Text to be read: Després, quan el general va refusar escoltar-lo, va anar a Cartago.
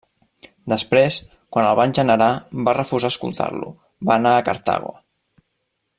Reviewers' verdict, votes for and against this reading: rejected, 0, 2